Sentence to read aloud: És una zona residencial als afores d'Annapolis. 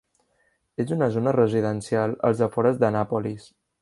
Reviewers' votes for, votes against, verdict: 1, 2, rejected